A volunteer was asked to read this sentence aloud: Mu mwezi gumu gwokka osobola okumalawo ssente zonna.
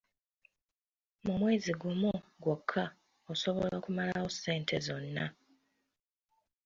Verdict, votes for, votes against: accepted, 2, 0